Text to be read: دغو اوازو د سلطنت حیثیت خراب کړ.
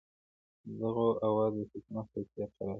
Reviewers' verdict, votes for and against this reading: rejected, 0, 2